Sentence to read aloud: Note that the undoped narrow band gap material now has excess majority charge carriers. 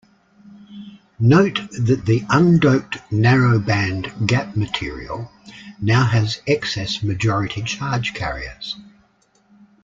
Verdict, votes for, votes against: accepted, 2, 0